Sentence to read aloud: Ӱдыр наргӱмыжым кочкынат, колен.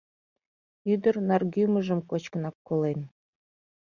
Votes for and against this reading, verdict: 0, 2, rejected